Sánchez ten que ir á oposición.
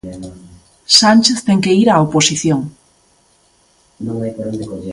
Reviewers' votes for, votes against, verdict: 0, 2, rejected